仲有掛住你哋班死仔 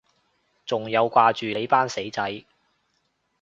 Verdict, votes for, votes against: rejected, 2, 2